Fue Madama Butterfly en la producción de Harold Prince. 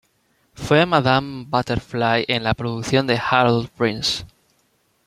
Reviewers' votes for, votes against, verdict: 1, 2, rejected